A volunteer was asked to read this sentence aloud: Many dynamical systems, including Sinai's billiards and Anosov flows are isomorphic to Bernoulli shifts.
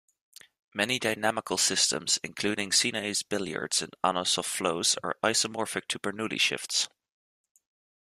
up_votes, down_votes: 2, 0